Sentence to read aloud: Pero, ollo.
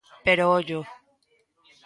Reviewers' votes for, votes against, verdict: 1, 2, rejected